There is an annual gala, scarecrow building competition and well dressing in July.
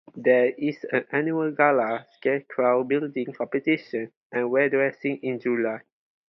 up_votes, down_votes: 4, 0